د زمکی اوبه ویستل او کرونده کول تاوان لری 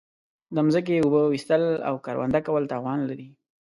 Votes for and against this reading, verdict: 2, 0, accepted